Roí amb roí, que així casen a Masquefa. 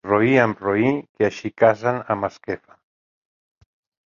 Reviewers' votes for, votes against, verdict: 1, 2, rejected